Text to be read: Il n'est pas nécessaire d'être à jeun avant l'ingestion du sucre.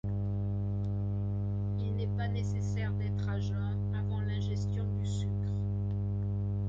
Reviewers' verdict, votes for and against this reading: accepted, 2, 0